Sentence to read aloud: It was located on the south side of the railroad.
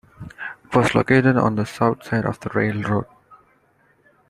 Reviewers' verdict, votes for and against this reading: rejected, 0, 2